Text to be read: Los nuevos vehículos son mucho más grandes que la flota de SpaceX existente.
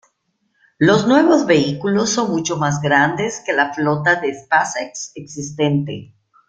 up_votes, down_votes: 0, 2